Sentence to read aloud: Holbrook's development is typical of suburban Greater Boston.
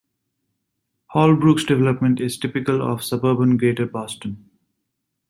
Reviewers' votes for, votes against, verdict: 0, 2, rejected